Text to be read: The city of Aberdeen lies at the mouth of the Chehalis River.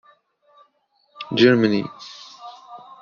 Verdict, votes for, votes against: rejected, 1, 2